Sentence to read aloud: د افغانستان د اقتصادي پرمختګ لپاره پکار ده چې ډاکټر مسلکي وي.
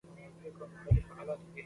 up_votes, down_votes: 1, 2